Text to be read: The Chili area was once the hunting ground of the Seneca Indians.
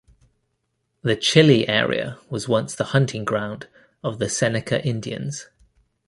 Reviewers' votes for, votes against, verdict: 2, 0, accepted